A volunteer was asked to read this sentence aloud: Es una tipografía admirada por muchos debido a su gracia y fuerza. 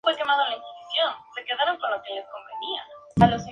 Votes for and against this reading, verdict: 2, 0, accepted